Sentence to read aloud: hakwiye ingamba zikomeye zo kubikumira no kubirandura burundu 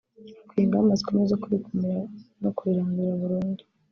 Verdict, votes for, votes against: rejected, 1, 2